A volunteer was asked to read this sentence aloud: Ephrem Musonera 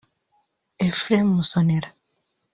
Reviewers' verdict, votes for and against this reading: rejected, 0, 2